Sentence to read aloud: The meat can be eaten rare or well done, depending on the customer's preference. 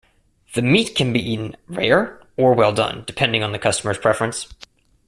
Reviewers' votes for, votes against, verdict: 2, 0, accepted